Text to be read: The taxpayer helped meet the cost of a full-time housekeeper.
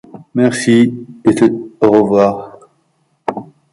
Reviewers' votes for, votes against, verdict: 0, 2, rejected